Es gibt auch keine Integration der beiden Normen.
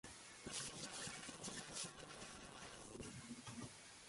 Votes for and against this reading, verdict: 0, 2, rejected